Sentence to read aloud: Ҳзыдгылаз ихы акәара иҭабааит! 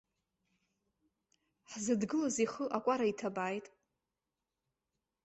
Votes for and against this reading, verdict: 1, 2, rejected